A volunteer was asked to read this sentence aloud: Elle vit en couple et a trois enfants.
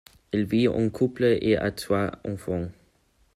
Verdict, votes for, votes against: accepted, 2, 1